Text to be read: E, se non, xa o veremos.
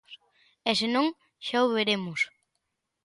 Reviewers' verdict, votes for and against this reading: accepted, 2, 0